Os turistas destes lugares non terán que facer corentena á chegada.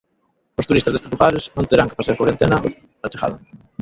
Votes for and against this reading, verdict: 1, 2, rejected